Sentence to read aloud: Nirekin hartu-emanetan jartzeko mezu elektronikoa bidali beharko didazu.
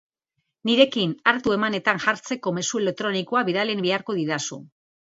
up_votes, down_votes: 2, 0